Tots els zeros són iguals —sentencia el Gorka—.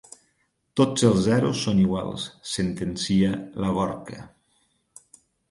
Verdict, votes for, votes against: rejected, 1, 2